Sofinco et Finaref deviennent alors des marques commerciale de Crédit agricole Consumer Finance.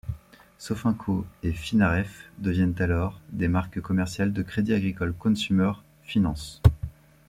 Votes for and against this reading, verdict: 1, 2, rejected